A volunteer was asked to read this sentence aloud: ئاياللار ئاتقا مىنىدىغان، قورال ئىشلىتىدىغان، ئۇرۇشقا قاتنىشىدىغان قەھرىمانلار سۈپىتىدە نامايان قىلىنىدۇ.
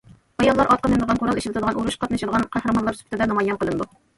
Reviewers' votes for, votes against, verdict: 1, 2, rejected